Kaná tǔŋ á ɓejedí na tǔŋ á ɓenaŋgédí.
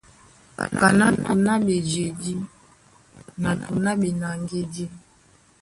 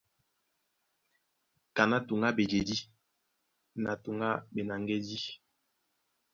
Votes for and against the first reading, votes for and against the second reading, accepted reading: 1, 2, 2, 0, second